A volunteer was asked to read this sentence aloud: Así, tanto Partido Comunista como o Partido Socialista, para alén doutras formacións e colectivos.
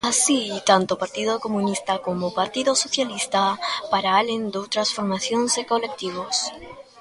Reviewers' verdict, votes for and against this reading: rejected, 0, 2